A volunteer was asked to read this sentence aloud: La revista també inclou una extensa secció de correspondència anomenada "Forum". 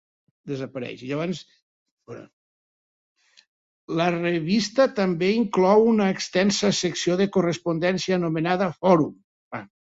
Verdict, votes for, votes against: rejected, 1, 4